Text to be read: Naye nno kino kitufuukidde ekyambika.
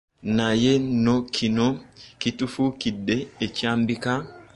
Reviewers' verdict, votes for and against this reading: accepted, 2, 0